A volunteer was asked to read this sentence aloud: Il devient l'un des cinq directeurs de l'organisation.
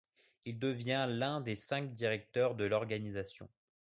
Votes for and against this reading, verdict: 2, 0, accepted